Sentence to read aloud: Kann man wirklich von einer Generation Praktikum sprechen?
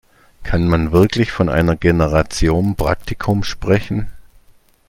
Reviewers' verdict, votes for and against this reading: accepted, 2, 0